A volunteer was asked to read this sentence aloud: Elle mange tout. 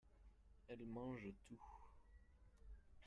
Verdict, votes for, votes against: rejected, 0, 2